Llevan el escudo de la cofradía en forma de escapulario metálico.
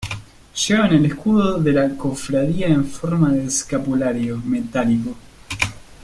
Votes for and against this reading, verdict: 2, 0, accepted